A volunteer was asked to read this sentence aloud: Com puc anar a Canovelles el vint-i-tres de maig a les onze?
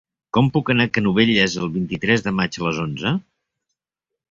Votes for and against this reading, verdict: 3, 0, accepted